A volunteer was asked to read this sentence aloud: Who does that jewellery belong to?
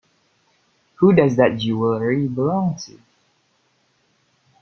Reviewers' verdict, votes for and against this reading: accepted, 2, 1